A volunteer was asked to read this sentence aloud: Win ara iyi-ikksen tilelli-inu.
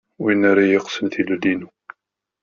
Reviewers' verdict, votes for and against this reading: rejected, 0, 2